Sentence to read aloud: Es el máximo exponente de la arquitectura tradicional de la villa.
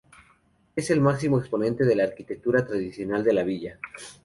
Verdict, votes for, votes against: accepted, 2, 0